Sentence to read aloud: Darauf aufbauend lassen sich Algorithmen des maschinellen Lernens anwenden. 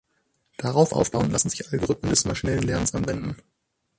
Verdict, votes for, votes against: accepted, 6, 0